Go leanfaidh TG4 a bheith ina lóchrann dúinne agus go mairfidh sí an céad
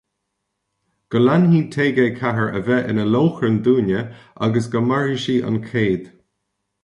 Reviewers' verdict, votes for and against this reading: rejected, 0, 2